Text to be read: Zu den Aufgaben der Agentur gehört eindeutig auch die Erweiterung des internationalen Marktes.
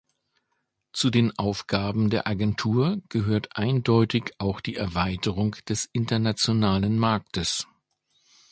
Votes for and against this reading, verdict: 2, 0, accepted